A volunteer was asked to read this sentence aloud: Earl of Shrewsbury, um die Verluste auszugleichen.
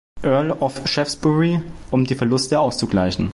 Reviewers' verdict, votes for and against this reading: rejected, 0, 2